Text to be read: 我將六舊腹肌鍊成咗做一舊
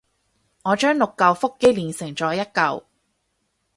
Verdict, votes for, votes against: rejected, 2, 4